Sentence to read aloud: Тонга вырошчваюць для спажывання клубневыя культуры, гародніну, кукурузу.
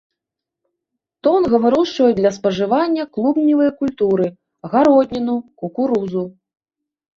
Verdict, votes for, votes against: accepted, 2, 0